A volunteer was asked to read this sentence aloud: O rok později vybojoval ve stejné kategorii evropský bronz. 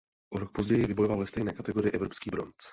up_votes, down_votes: 0, 2